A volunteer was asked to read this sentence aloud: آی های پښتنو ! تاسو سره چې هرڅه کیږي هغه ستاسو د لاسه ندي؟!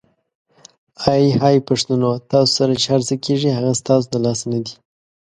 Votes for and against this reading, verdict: 2, 0, accepted